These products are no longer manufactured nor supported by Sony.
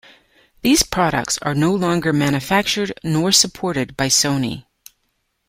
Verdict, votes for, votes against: accepted, 2, 0